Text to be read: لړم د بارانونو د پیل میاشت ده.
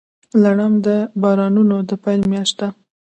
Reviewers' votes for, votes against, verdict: 0, 2, rejected